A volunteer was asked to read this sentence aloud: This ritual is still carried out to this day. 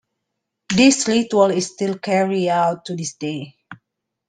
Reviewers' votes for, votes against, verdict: 0, 2, rejected